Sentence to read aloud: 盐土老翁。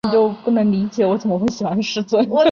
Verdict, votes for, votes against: accepted, 2, 1